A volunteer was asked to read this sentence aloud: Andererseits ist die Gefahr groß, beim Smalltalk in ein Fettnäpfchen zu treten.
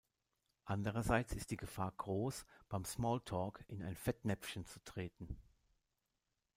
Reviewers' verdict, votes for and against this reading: rejected, 1, 2